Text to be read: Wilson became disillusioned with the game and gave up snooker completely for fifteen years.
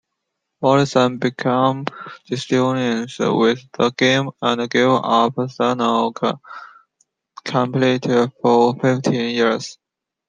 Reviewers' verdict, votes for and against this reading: rejected, 0, 2